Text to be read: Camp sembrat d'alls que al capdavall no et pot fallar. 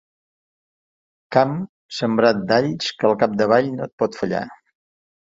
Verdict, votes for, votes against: accepted, 2, 0